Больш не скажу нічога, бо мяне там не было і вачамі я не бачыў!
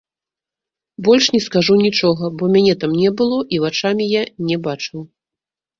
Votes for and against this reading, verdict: 2, 1, accepted